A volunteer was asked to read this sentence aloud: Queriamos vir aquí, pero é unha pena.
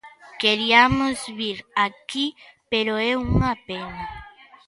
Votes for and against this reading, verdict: 1, 2, rejected